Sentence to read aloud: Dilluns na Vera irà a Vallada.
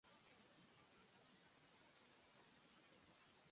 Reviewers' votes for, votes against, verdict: 0, 2, rejected